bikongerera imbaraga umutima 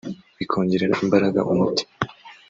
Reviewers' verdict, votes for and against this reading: rejected, 0, 2